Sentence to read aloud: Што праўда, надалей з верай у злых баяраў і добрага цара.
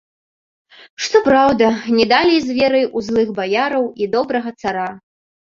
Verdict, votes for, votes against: rejected, 1, 2